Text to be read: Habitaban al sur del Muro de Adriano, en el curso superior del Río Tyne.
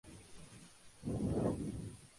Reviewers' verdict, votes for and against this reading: rejected, 0, 4